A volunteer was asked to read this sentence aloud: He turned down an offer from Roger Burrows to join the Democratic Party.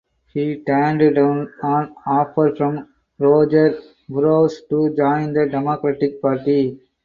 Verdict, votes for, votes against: rejected, 2, 4